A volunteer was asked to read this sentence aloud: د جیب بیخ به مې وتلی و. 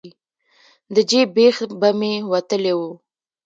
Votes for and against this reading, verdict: 1, 2, rejected